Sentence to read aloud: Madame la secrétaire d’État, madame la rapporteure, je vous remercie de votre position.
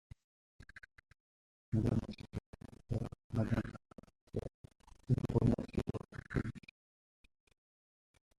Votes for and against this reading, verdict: 0, 2, rejected